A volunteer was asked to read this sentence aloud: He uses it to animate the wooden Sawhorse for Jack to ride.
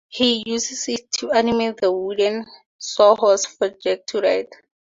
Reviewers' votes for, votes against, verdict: 4, 0, accepted